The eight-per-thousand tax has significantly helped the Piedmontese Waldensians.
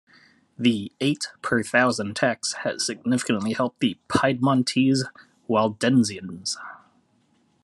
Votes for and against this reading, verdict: 2, 0, accepted